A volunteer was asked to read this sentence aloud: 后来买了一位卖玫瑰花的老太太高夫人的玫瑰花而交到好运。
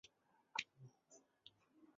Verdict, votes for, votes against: rejected, 0, 3